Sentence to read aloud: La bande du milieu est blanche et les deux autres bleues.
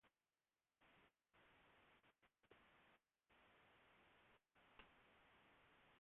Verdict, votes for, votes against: rejected, 0, 2